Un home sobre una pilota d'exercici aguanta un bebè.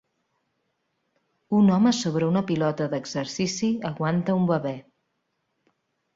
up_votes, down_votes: 2, 0